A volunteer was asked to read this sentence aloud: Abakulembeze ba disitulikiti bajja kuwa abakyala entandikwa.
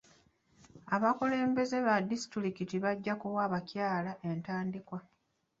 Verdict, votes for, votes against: accepted, 2, 0